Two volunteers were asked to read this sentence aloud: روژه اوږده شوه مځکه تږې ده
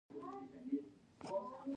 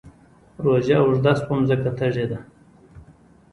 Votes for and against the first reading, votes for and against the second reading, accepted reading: 0, 2, 3, 0, second